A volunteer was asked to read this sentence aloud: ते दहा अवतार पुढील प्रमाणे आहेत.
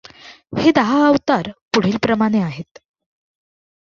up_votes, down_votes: 2, 0